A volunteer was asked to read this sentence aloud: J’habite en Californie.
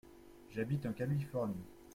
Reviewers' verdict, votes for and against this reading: accepted, 2, 1